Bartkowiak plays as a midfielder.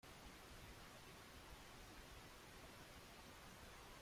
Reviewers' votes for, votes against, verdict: 0, 2, rejected